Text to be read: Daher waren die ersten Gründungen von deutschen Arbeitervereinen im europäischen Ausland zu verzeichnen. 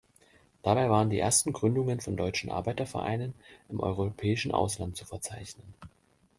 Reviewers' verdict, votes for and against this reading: rejected, 1, 2